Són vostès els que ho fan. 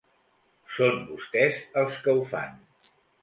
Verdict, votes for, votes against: accepted, 2, 0